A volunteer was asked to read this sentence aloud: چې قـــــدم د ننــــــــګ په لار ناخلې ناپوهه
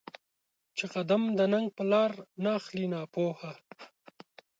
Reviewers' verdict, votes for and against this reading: accepted, 2, 0